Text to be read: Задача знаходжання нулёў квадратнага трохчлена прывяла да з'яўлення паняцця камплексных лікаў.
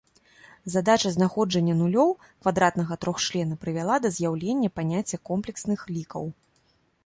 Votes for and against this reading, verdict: 0, 2, rejected